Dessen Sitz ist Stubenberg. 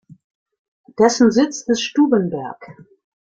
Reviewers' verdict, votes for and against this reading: rejected, 0, 2